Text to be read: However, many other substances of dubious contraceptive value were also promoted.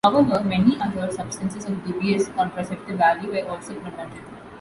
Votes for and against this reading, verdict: 1, 2, rejected